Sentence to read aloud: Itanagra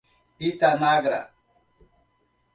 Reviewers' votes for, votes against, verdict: 2, 0, accepted